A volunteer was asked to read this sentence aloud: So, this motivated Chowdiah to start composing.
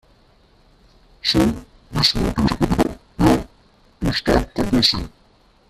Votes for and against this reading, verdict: 1, 2, rejected